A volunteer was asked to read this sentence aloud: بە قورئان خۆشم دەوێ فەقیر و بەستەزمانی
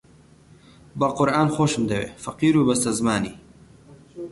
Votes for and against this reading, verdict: 2, 0, accepted